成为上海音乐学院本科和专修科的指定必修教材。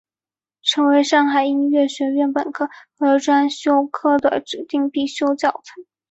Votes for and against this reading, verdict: 2, 0, accepted